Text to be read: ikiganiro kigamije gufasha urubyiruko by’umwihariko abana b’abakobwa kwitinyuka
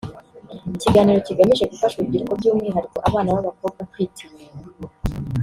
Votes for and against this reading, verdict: 0, 2, rejected